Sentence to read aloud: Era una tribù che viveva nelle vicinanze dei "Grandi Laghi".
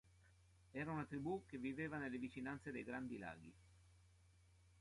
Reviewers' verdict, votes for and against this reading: accepted, 3, 1